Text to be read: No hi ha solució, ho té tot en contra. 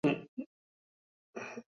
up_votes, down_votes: 0, 2